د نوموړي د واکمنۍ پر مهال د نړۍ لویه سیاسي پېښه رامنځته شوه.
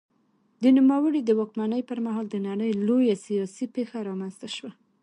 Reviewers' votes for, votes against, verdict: 2, 0, accepted